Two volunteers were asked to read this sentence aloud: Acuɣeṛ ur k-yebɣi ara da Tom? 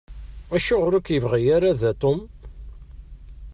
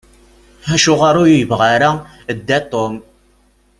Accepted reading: first